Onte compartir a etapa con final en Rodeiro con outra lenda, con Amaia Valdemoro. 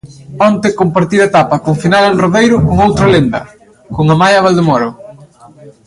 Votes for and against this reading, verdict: 0, 2, rejected